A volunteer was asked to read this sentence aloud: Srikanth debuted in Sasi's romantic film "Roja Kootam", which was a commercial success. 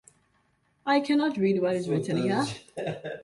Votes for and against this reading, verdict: 0, 2, rejected